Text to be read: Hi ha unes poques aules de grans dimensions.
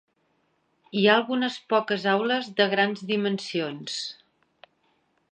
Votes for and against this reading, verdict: 0, 2, rejected